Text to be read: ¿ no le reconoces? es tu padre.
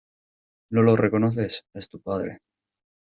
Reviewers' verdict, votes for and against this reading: rejected, 0, 2